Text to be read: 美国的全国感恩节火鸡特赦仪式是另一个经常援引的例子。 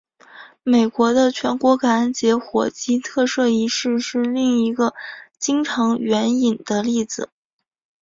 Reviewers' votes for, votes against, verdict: 2, 0, accepted